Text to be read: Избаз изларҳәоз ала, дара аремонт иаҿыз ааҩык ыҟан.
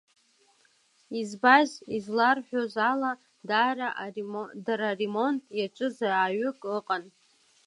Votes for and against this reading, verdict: 0, 2, rejected